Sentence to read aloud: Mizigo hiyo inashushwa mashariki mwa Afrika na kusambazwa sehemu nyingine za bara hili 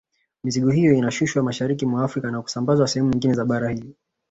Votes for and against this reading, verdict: 2, 0, accepted